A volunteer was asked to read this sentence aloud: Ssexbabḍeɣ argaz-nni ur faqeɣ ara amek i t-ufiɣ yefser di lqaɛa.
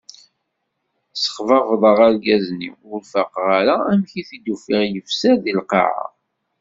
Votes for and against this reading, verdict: 2, 0, accepted